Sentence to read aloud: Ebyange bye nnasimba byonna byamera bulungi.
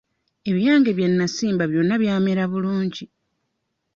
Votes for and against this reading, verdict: 2, 0, accepted